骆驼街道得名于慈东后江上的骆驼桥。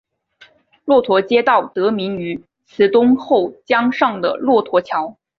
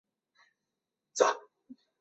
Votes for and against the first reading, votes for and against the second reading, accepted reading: 3, 0, 0, 5, first